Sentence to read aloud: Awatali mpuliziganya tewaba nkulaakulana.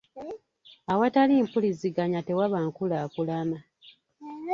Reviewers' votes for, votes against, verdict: 2, 0, accepted